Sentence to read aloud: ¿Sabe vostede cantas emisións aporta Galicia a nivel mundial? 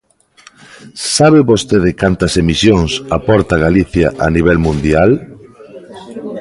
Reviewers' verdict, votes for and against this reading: accepted, 2, 0